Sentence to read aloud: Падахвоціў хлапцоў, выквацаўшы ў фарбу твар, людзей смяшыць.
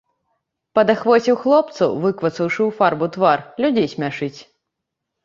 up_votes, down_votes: 2, 4